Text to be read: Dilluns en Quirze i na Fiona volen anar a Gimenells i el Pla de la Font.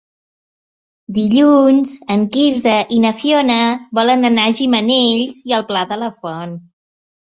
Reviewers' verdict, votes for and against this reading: accepted, 3, 0